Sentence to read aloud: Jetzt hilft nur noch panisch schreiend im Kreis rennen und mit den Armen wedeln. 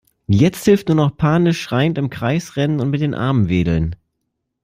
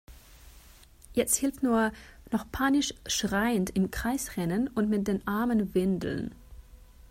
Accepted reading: first